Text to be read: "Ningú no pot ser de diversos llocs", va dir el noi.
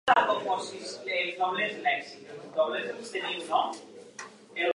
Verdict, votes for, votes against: rejected, 1, 2